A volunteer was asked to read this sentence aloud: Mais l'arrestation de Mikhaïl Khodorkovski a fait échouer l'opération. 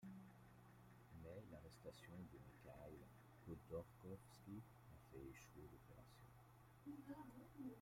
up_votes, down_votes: 0, 2